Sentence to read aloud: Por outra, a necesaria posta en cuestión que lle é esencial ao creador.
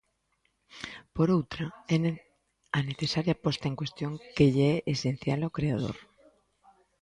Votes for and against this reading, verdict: 0, 2, rejected